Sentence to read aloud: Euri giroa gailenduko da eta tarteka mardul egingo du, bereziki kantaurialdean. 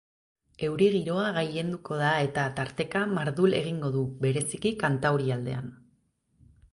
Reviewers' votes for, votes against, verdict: 2, 0, accepted